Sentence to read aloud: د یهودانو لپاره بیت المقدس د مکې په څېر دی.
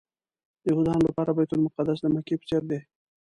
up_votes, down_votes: 1, 2